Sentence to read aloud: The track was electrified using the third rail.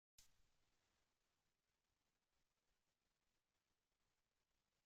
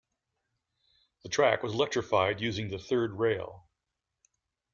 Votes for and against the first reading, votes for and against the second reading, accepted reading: 0, 2, 2, 0, second